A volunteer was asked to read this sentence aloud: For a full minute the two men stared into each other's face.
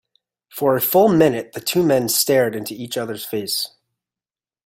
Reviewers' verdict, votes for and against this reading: accepted, 2, 0